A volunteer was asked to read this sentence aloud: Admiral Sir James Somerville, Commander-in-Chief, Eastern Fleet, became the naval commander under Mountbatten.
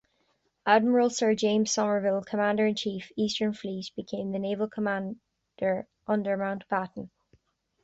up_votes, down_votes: 0, 2